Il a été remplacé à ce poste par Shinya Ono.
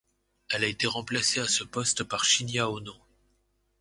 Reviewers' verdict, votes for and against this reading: rejected, 0, 2